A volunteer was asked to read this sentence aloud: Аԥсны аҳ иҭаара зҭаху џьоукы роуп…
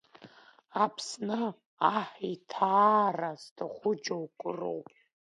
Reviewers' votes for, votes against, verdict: 2, 0, accepted